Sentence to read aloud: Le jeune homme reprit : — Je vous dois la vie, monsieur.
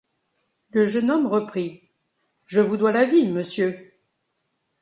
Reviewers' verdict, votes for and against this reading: accepted, 2, 0